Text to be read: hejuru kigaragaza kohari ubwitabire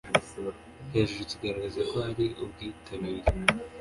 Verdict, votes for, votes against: accepted, 2, 0